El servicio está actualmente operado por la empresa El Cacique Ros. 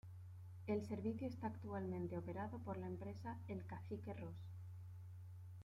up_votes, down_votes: 2, 0